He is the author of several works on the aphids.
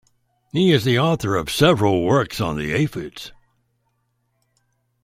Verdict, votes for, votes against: accepted, 2, 0